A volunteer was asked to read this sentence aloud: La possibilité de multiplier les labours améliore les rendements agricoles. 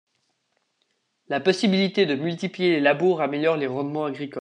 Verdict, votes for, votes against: rejected, 1, 2